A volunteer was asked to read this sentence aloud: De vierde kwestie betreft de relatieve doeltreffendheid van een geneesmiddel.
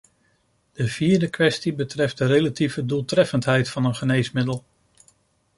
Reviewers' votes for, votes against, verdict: 2, 0, accepted